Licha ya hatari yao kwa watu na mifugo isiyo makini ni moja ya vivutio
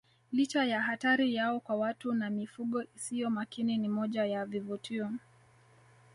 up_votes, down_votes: 1, 2